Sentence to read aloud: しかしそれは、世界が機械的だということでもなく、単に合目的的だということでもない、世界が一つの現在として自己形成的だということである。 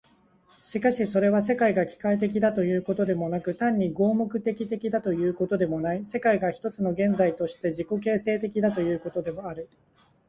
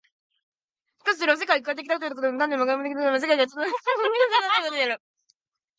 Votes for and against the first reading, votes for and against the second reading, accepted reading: 2, 0, 0, 2, first